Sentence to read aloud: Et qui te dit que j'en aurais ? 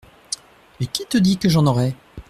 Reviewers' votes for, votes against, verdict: 2, 0, accepted